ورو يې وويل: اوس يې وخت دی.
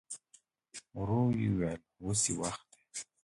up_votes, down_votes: 2, 1